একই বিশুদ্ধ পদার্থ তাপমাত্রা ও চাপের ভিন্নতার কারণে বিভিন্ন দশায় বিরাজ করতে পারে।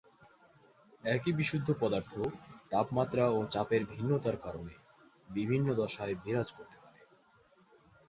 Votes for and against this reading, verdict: 2, 0, accepted